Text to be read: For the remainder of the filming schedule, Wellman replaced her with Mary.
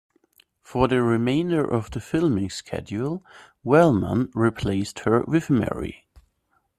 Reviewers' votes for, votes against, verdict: 2, 0, accepted